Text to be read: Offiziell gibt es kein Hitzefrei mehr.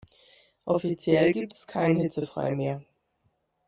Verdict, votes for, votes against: accepted, 2, 0